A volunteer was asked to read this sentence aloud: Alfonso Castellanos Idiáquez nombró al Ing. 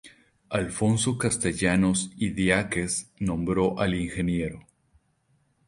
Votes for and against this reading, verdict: 2, 0, accepted